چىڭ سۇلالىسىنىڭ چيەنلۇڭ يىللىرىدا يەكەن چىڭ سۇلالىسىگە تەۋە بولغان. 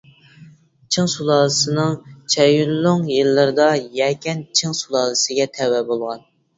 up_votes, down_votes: 0, 2